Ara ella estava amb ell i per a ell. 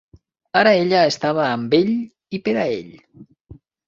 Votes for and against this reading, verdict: 3, 0, accepted